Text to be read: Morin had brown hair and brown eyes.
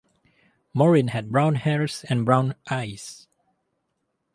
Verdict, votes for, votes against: rejected, 0, 2